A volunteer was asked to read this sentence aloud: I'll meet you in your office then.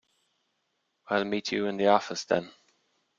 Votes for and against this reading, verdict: 1, 2, rejected